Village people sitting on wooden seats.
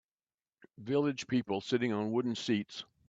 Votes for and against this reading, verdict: 2, 1, accepted